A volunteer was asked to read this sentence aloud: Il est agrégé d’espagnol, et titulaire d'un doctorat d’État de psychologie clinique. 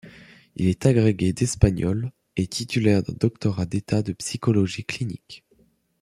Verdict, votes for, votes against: rejected, 1, 2